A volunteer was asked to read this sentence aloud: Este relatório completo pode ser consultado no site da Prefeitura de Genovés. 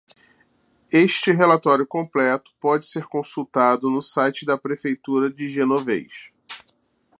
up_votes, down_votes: 2, 0